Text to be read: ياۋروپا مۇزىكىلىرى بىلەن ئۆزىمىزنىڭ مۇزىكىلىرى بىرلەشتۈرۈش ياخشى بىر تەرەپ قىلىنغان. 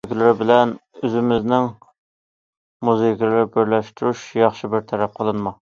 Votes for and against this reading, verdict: 0, 2, rejected